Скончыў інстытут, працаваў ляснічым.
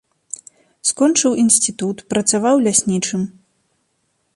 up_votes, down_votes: 1, 2